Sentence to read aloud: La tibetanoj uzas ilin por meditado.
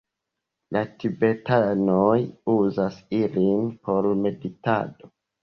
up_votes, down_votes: 0, 2